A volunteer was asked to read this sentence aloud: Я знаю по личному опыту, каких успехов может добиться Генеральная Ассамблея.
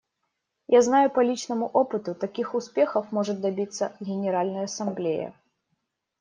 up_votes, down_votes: 1, 2